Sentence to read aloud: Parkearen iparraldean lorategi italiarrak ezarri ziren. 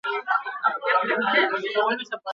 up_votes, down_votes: 0, 2